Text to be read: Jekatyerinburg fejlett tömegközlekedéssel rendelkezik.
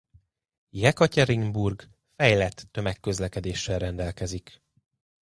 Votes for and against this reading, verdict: 2, 1, accepted